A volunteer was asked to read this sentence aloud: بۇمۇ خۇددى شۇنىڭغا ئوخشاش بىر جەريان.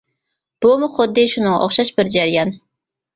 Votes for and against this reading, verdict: 0, 2, rejected